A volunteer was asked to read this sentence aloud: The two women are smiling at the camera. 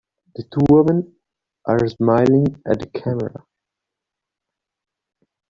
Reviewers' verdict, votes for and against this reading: rejected, 0, 2